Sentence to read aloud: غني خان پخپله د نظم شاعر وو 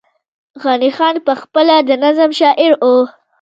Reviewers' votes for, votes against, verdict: 1, 2, rejected